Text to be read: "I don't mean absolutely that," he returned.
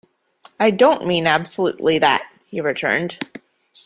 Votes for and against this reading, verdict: 2, 0, accepted